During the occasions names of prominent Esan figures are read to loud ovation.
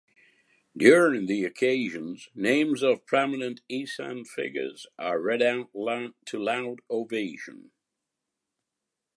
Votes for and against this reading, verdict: 0, 2, rejected